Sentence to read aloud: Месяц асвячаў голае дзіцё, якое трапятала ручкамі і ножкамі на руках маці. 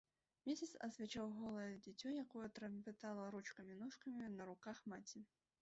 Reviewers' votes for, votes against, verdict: 0, 2, rejected